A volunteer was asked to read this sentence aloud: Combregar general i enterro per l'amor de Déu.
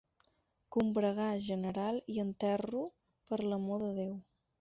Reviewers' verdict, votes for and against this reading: accepted, 6, 0